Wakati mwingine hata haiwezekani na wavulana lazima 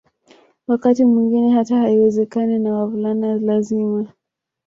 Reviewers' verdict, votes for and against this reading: rejected, 1, 2